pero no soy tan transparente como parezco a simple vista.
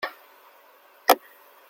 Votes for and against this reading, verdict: 0, 2, rejected